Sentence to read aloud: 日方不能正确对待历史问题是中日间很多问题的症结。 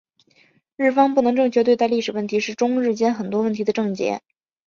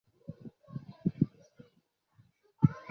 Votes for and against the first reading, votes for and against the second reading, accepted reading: 3, 0, 0, 2, first